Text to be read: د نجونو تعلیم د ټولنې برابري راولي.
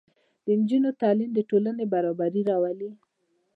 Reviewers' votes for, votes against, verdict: 1, 2, rejected